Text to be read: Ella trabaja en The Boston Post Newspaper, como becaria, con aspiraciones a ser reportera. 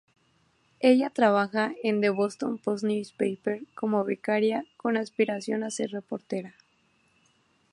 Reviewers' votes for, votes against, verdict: 2, 2, rejected